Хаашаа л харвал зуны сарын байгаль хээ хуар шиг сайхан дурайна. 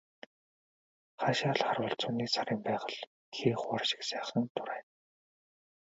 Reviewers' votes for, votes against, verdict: 2, 0, accepted